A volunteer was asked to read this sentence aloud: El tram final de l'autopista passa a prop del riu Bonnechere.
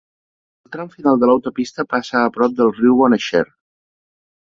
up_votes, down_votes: 2, 0